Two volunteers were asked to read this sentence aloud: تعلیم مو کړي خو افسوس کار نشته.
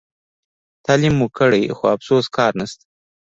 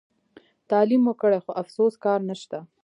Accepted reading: second